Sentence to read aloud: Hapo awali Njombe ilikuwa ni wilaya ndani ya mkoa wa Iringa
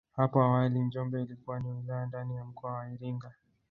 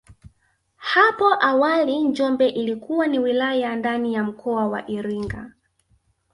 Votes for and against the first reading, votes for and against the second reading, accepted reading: 0, 2, 3, 1, second